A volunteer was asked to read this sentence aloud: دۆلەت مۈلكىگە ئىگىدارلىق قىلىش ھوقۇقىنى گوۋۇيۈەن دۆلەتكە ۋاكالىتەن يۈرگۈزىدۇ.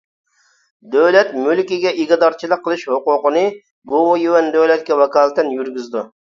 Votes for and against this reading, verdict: 1, 2, rejected